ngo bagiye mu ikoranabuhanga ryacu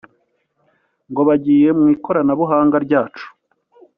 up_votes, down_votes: 2, 0